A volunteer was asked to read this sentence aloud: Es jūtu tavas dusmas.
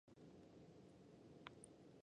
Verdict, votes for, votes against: rejected, 0, 2